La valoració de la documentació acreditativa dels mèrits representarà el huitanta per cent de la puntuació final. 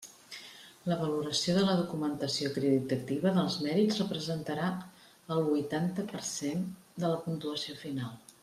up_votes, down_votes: 2, 0